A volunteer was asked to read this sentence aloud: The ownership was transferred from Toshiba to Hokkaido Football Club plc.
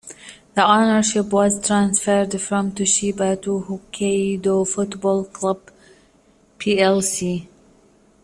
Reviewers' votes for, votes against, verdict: 1, 2, rejected